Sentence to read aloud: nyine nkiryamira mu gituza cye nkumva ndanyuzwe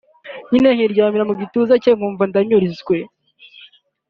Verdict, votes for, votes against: rejected, 0, 2